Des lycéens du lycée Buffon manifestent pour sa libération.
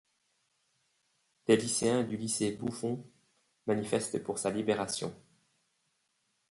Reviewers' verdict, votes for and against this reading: rejected, 0, 2